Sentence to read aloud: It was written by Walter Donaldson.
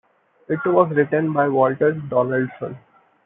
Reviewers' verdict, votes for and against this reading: accepted, 2, 0